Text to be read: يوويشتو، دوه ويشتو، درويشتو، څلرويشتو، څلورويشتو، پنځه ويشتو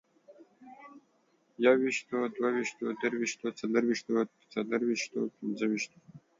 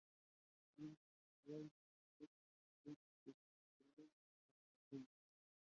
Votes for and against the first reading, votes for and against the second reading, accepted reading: 2, 1, 0, 2, first